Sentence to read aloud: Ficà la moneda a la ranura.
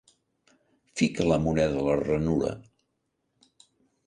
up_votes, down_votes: 1, 2